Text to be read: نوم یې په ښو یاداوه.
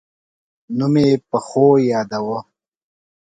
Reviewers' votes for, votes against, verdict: 3, 0, accepted